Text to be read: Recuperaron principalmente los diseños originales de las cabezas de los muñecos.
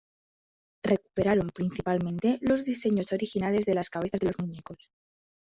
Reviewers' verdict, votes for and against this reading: accepted, 2, 0